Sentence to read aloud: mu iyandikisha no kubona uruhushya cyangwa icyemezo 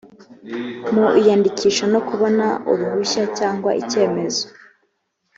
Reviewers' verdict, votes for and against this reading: accepted, 3, 0